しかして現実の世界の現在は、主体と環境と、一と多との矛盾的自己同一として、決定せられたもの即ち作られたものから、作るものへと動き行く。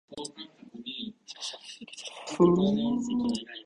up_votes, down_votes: 0, 2